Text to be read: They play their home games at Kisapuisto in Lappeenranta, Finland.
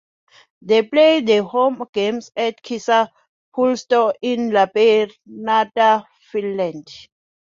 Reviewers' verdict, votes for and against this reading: accepted, 2, 1